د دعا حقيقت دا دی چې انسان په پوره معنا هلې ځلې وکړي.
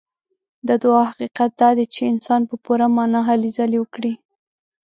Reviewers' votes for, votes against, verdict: 2, 0, accepted